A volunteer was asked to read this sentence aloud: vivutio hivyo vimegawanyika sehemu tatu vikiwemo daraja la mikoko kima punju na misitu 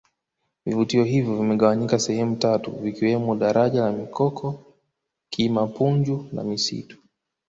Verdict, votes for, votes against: accepted, 2, 0